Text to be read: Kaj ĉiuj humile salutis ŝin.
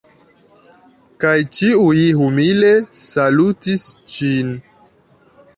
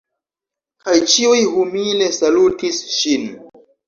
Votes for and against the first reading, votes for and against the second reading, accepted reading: 2, 1, 1, 2, first